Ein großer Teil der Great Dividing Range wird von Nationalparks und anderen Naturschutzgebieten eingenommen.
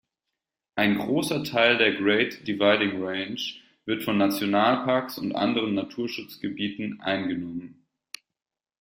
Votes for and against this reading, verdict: 2, 0, accepted